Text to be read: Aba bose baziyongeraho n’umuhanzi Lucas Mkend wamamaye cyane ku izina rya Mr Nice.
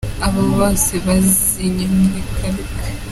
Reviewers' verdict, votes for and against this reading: rejected, 0, 2